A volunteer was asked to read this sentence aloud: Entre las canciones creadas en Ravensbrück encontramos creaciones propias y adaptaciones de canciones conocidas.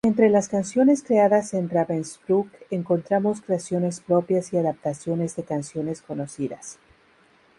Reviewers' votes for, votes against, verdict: 0, 2, rejected